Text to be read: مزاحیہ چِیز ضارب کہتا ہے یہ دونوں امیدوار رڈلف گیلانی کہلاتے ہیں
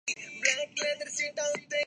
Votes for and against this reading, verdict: 0, 2, rejected